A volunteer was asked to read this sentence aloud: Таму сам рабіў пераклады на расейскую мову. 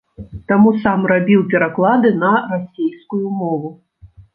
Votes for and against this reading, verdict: 2, 0, accepted